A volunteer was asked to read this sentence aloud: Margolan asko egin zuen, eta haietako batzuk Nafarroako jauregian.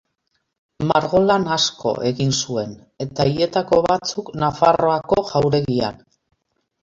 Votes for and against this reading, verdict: 2, 0, accepted